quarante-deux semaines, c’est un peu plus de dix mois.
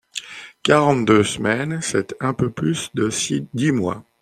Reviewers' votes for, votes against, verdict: 1, 2, rejected